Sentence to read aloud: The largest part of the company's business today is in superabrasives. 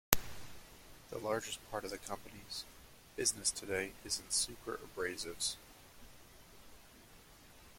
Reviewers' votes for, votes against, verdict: 1, 2, rejected